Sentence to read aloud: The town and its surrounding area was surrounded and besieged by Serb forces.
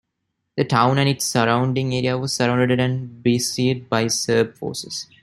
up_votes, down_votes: 2, 0